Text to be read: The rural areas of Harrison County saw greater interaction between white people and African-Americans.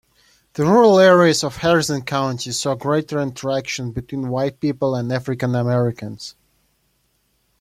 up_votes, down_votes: 2, 1